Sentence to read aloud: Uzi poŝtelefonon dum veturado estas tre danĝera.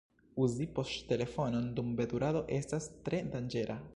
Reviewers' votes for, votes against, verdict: 2, 0, accepted